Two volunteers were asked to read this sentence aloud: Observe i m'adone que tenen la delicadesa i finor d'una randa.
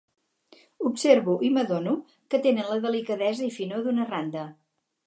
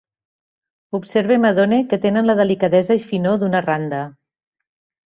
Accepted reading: second